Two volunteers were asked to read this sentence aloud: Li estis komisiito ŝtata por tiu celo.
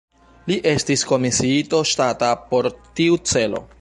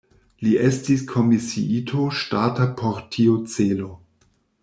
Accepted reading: second